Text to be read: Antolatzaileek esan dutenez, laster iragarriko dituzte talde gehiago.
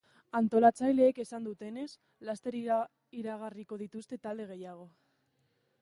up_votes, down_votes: 1, 3